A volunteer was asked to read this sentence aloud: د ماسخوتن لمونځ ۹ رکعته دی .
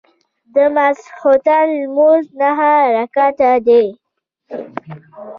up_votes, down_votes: 0, 2